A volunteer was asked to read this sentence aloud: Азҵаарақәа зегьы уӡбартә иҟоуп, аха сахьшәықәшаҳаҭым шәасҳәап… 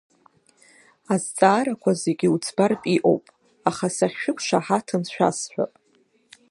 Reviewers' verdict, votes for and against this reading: accepted, 2, 1